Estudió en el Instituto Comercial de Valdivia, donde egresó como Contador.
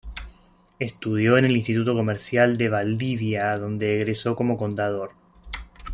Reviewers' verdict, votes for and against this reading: rejected, 1, 2